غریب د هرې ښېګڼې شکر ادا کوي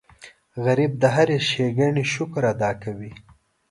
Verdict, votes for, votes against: accepted, 2, 0